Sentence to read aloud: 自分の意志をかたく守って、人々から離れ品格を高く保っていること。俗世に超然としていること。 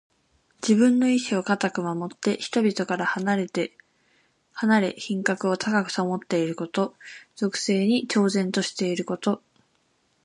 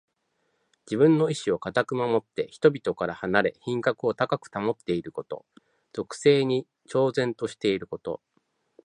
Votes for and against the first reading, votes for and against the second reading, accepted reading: 1, 2, 2, 0, second